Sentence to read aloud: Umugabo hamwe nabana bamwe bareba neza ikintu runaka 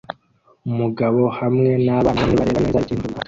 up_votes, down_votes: 0, 2